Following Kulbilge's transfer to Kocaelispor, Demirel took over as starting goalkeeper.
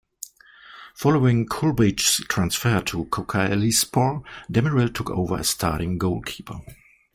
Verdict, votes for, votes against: accepted, 2, 0